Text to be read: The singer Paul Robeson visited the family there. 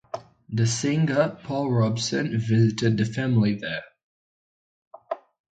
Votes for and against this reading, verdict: 2, 0, accepted